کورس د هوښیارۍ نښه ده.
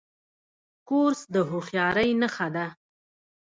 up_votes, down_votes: 0, 2